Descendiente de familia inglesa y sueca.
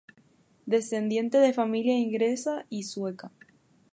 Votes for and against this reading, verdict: 2, 2, rejected